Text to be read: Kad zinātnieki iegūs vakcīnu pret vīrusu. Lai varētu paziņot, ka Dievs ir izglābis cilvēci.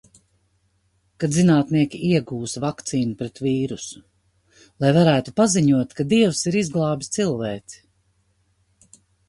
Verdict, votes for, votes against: accepted, 3, 0